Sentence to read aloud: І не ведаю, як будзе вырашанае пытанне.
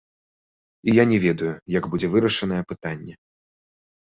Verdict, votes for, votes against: rejected, 0, 2